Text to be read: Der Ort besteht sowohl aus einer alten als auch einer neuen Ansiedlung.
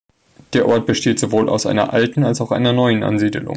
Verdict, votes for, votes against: rejected, 1, 3